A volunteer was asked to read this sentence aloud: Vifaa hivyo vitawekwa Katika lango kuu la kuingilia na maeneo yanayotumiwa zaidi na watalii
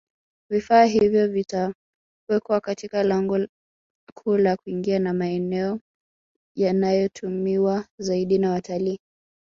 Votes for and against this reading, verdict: 2, 0, accepted